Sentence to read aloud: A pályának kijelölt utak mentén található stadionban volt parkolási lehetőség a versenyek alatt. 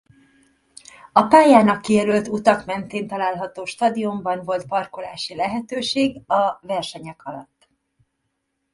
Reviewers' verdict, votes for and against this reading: accepted, 3, 0